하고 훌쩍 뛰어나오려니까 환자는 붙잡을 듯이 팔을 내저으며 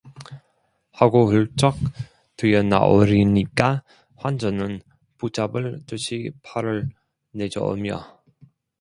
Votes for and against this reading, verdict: 1, 2, rejected